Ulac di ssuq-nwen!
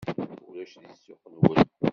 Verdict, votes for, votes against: rejected, 0, 2